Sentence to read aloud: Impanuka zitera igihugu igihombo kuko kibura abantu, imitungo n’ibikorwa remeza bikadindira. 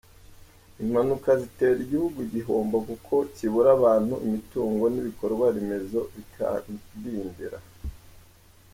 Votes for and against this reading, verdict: 1, 2, rejected